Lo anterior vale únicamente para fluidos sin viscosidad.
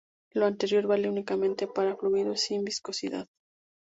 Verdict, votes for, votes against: accepted, 2, 0